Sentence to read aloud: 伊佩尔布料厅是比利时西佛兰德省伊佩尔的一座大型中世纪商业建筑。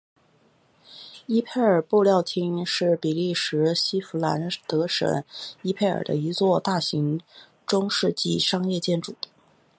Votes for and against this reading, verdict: 6, 1, accepted